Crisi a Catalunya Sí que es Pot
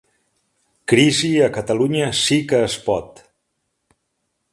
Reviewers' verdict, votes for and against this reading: accepted, 2, 0